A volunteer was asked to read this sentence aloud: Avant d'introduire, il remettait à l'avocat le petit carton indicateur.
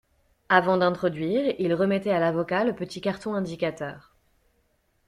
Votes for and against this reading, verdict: 2, 0, accepted